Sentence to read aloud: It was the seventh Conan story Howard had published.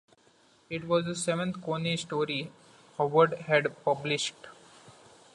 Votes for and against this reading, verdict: 2, 1, accepted